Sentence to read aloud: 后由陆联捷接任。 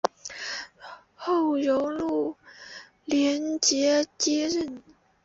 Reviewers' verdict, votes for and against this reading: accepted, 2, 0